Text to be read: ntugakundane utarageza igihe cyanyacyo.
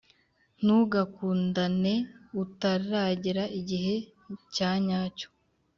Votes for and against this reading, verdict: 1, 2, rejected